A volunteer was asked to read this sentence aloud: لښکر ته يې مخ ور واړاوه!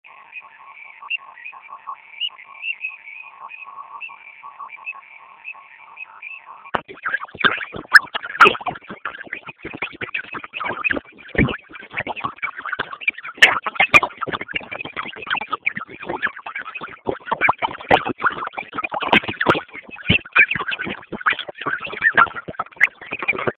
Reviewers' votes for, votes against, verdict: 0, 2, rejected